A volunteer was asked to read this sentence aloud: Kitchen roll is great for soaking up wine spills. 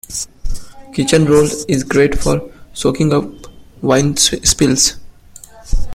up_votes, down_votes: 0, 2